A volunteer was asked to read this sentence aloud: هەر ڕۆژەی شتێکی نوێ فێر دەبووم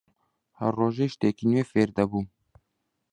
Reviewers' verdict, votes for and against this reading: accepted, 2, 0